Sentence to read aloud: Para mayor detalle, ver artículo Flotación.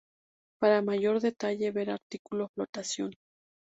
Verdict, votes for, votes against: accepted, 2, 0